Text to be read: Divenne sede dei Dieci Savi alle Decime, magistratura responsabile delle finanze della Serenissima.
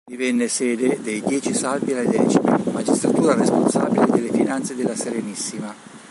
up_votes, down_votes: 1, 2